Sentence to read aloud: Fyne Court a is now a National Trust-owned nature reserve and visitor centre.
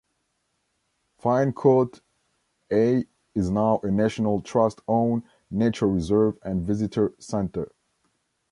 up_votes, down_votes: 1, 2